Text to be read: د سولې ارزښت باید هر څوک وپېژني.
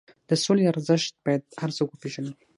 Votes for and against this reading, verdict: 3, 6, rejected